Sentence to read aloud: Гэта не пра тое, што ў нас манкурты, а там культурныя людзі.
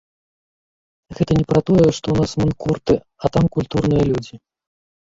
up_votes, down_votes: 2, 1